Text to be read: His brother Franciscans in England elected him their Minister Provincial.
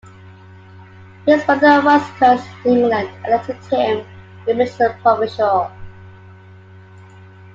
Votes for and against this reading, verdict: 1, 2, rejected